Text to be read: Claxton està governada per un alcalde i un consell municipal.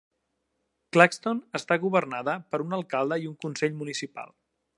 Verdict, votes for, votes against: accepted, 2, 0